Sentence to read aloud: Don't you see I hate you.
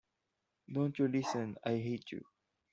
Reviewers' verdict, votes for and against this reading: rejected, 0, 2